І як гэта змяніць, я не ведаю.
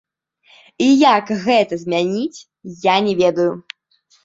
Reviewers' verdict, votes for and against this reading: rejected, 0, 2